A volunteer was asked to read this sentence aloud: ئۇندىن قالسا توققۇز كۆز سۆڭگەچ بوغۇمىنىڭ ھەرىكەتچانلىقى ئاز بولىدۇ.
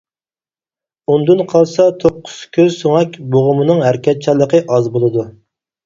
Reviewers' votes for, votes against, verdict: 0, 4, rejected